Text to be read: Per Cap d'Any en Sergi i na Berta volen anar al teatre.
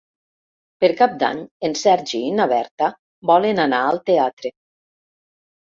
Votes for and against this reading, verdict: 4, 0, accepted